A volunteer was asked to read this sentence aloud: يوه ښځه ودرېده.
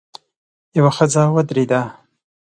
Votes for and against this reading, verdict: 2, 0, accepted